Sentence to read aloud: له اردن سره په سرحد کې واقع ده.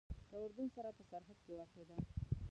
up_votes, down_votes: 0, 2